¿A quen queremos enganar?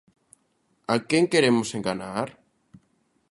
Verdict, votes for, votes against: accepted, 2, 0